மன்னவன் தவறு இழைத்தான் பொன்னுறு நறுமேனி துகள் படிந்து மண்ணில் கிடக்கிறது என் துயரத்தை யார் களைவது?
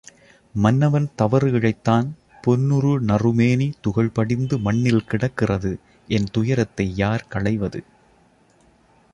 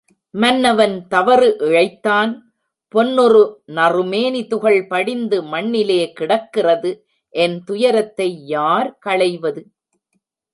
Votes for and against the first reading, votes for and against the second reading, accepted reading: 2, 0, 0, 2, first